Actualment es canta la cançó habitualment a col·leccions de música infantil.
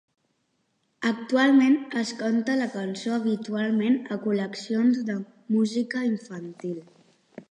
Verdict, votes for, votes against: rejected, 1, 2